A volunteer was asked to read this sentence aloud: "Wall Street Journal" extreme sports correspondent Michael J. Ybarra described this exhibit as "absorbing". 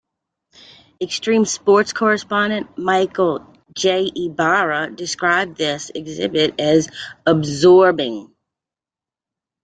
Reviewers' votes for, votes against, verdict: 1, 2, rejected